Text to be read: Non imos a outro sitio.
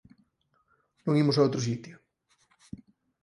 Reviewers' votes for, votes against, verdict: 4, 0, accepted